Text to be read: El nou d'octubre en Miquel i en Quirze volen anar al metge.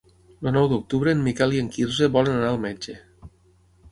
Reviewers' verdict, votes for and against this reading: rejected, 0, 6